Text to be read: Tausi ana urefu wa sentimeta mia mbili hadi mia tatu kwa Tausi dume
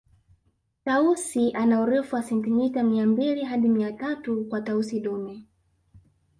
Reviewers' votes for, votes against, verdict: 0, 2, rejected